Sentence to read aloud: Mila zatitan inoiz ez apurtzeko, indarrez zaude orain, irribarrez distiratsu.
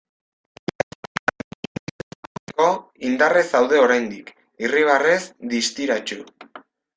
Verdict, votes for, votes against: rejected, 1, 2